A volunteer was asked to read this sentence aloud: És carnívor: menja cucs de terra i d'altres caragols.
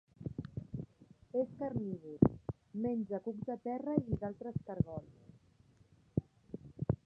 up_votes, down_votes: 1, 2